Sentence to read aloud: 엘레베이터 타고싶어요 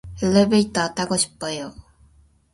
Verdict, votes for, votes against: rejected, 0, 2